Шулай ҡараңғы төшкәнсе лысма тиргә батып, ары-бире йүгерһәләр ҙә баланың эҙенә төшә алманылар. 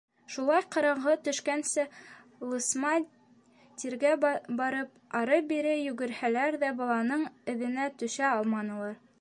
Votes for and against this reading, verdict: 1, 2, rejected